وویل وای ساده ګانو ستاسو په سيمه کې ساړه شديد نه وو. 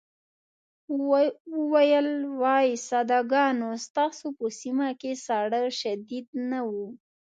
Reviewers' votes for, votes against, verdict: 2, 0, accepted